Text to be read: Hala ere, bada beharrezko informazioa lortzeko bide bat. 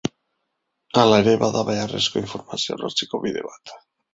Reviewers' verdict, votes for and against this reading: accepted, 2, 0